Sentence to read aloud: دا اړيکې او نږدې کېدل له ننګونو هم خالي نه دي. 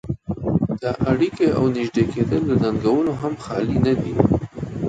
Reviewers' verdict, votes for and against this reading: rejected, 1, 3